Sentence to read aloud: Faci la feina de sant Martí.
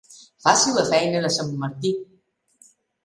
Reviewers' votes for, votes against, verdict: 3, 0, accepted